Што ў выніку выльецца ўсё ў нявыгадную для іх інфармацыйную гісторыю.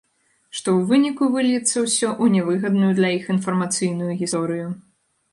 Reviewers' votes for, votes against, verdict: 0, 2, rejected